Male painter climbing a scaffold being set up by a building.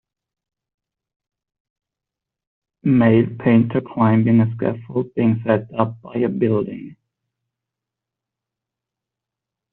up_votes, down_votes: 1, 2